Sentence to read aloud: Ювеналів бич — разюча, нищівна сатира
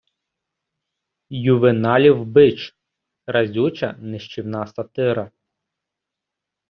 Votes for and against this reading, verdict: 2, 0, accepted